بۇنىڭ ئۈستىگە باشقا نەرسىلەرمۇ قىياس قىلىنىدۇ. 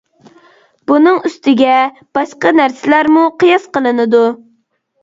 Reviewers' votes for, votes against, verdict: 2, 0, accepted